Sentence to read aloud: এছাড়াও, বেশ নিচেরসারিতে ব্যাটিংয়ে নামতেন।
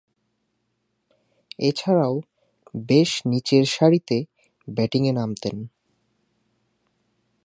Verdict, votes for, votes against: accepted, 2, 0